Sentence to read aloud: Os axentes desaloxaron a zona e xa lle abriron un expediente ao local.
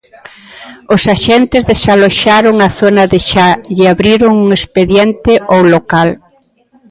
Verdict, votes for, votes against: rejected, 0, 2